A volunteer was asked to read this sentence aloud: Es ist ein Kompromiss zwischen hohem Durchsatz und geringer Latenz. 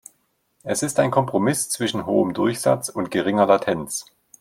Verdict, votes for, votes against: accepted, 2, 0